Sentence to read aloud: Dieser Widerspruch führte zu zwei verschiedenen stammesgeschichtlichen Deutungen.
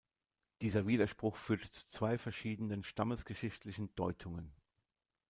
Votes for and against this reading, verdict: 3, 1, accepted